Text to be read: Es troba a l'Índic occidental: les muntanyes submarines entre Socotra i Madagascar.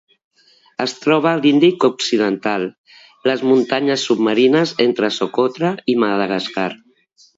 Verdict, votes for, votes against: accepted, 2, 1